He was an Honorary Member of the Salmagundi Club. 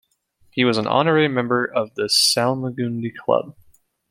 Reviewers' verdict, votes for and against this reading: accepted, 2, 0